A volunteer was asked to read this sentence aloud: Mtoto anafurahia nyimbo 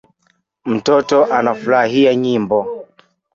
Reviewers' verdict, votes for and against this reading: rejected, 0, 2